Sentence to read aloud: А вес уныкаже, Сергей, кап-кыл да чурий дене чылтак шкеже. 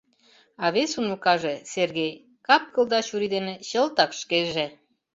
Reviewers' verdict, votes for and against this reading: accepted, 2, 0